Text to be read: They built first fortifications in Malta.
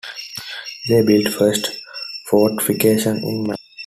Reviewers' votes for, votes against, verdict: 2, 1, accepted